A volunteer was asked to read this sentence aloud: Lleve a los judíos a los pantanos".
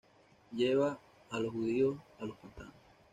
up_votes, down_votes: 1, 2